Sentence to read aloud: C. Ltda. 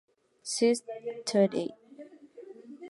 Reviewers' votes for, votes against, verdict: 0, 2, rejected